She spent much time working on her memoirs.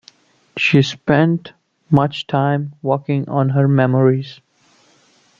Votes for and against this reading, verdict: 0, 2, rejected